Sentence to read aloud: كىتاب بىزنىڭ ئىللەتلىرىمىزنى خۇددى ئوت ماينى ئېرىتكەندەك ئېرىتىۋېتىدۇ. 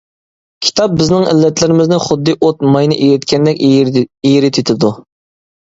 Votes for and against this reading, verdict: 0, 2, rejected